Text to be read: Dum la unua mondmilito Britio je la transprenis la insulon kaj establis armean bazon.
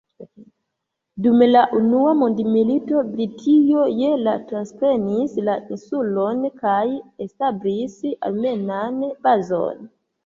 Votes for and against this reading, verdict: 2, 1, accepted